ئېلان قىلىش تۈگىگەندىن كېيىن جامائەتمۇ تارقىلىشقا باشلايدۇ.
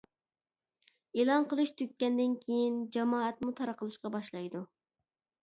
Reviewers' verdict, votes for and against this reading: accepted, 2, 0